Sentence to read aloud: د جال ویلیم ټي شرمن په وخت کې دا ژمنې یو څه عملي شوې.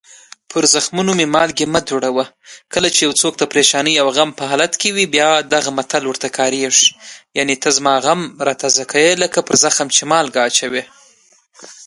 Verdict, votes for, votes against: rejected, 1, 2